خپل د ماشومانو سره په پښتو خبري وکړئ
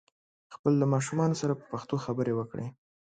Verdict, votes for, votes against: accepted, 2, 0